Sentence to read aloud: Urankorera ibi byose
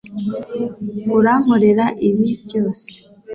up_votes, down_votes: 3, 0